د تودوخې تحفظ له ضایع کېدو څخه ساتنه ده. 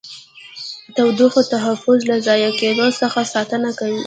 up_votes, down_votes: 1, 2